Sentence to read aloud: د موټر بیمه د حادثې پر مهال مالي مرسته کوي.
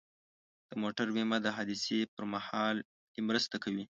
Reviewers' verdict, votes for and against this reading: rejected, 0, 2